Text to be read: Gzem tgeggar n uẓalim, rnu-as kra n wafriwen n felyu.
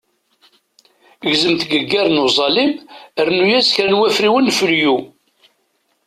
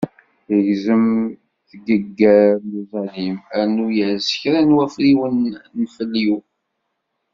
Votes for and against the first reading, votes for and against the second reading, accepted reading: 2, 1, 0, 2, first